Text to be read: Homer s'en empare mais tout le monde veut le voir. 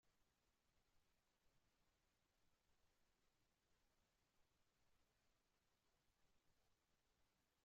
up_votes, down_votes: 0, 2